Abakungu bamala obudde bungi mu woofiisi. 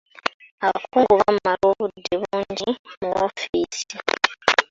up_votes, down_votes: 0, 2